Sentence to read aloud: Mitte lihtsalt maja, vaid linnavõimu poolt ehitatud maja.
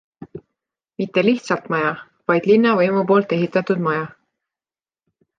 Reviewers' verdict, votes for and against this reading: accepted, 2, 0